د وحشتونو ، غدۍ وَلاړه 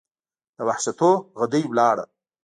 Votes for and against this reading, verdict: 0, 2, rejected